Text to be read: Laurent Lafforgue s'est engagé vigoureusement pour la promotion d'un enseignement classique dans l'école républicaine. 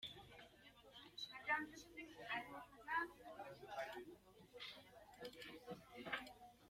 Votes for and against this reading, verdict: 0, 2, rejected